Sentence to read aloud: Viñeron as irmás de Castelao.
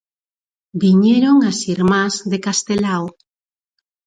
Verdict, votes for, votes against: accepted, 4, 0